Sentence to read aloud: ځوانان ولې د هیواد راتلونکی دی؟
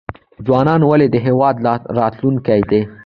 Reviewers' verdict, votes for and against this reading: accepted, 2, 1